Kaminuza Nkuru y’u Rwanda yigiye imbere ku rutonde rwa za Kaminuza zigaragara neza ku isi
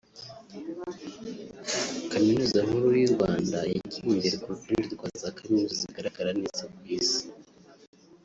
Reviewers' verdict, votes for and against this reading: rejected, 1, 2